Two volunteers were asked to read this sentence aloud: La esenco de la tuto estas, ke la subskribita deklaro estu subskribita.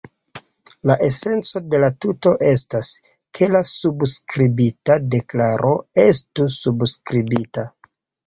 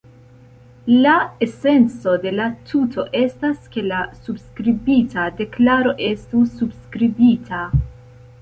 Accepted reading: second